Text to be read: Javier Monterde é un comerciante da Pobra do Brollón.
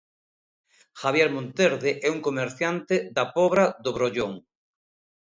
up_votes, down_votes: 2, 0